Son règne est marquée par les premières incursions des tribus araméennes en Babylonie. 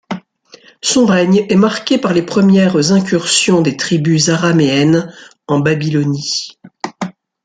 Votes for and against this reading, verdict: 2, 0, accepted